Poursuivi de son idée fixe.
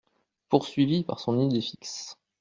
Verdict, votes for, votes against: rejected, 0, 2